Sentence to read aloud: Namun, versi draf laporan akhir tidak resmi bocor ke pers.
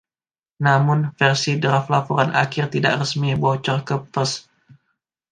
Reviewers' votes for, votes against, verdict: 1, 2, rejected